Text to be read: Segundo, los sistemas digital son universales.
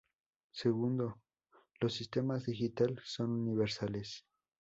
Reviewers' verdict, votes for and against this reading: accepted, 2, 0